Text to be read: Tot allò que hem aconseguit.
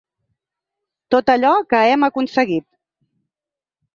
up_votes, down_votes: 4, 0